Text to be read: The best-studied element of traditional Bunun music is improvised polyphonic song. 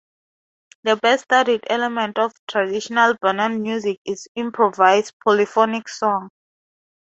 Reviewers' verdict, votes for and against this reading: accepted, 2, 0